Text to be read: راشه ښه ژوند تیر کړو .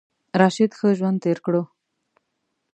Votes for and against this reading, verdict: 2, 3, rejected